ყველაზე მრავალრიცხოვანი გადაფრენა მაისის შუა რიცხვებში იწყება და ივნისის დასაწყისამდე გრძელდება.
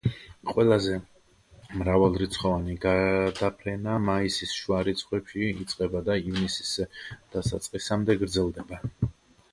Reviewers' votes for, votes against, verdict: 1, 2, rejected